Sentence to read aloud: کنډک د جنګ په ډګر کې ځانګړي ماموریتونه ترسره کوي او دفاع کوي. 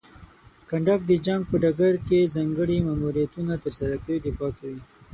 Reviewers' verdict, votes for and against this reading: rejected, 3, 6